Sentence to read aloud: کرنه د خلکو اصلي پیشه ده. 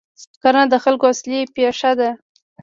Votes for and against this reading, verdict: 2, 1, accepted